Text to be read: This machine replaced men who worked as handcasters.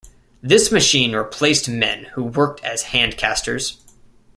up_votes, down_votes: 2, 0